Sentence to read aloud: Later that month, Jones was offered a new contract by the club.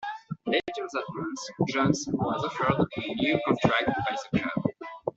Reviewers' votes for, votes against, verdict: 1, 2, rejected